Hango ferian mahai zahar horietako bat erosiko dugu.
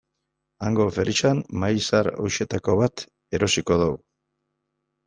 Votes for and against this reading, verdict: 0, 2, rejected